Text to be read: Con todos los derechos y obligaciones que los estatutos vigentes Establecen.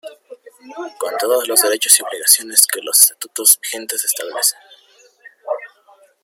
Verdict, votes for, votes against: accepted, 2, 0